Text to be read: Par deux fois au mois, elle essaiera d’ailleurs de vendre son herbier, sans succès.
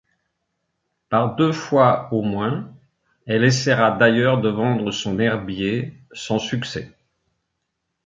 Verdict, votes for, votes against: rejected, 1, 2